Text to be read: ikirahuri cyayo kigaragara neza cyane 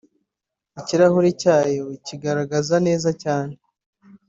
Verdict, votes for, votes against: rejected, 1, 2